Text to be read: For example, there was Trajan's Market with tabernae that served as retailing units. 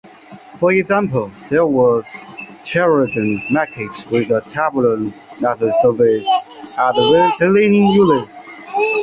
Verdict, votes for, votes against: rejected, 0, 2